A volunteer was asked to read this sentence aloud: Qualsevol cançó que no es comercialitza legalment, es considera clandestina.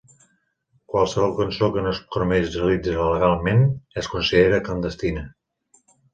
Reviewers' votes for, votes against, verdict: 0, 2, rejected